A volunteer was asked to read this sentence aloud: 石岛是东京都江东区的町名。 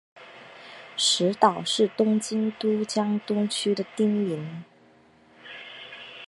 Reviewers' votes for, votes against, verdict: 1, 2, rejected